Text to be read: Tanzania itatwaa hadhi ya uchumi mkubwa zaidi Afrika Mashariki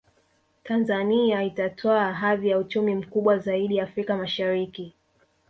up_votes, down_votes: 2, 1